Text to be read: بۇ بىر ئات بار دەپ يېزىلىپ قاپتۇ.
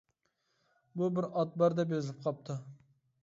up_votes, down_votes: 0, 2